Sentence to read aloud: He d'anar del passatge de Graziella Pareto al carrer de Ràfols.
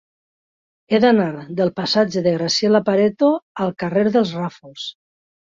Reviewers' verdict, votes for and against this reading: rejected, 1, 3